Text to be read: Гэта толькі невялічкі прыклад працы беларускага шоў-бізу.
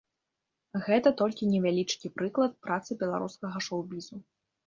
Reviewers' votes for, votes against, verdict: 2, 0, accepted